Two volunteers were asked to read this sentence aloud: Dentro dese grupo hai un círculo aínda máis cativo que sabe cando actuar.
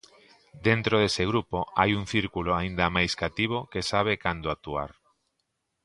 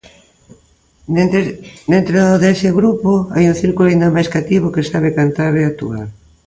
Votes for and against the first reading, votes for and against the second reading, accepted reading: 2, 0, 0, 2, first